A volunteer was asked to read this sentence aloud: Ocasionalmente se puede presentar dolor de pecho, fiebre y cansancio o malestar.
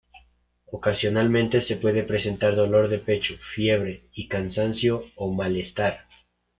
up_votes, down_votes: 0, 2